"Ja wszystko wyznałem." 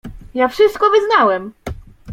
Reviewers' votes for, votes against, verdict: 2, 0, accepted